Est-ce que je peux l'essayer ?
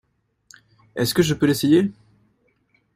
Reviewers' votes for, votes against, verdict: 2, 0, accepted